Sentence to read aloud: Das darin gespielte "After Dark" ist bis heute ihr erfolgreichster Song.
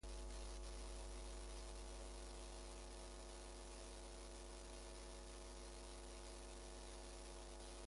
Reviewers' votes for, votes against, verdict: 0, 2, rejected